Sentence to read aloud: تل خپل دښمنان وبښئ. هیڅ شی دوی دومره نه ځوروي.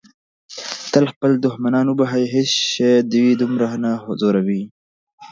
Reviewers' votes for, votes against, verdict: 0, 2, rejected